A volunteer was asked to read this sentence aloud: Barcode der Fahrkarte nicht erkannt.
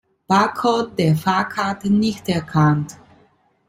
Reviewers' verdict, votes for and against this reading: accepted, 2, 0